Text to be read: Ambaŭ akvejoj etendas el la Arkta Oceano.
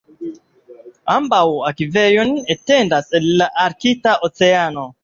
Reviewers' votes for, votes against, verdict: 2, 0, accepted